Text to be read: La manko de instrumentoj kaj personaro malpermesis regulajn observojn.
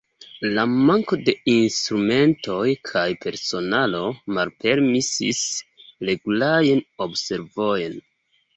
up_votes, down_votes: 1, 2